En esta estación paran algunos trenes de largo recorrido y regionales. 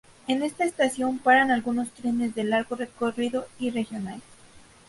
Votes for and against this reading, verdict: 4, 0, accepted